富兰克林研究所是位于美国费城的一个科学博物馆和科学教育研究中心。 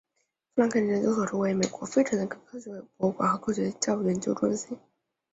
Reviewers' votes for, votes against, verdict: 1, 3, rejected